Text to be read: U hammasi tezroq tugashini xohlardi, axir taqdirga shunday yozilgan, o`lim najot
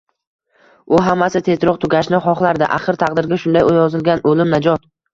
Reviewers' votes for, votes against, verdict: 2, 0, accepted